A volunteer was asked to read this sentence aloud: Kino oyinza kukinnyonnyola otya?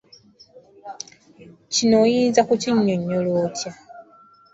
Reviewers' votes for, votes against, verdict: 2, 0, accepted